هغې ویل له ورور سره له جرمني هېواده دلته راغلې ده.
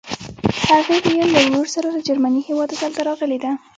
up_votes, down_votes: 1, 2